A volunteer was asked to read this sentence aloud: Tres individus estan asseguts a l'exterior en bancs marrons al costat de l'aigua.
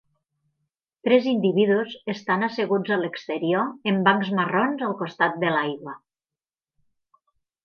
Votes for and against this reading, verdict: 6, 0, accepted